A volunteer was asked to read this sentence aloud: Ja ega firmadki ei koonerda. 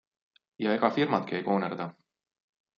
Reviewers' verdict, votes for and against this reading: accepted, 2, 0